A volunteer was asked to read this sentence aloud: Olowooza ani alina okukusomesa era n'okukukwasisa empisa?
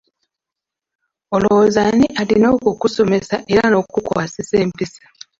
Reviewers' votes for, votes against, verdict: 2, 0, accepted